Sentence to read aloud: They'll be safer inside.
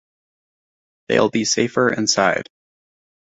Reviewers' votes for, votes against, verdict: 1, 2, rejected